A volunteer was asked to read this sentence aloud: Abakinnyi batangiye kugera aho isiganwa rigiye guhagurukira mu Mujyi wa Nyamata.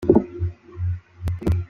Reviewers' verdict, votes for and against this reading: rejected, 0, 2